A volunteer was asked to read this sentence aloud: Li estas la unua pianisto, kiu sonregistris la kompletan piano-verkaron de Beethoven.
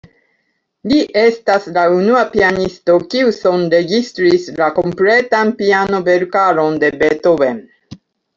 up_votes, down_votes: 2, 1